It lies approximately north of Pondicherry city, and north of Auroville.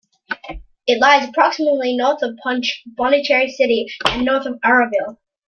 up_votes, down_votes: 0, 2